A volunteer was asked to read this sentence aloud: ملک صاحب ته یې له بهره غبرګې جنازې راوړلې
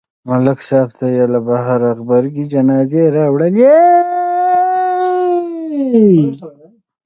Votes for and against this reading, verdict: 0, 2, rejected